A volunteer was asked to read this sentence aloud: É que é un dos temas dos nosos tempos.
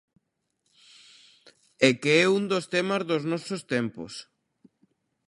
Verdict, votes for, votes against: accepted, 2, 0